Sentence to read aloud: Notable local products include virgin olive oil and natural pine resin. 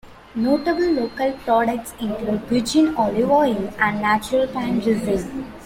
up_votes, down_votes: 2, 0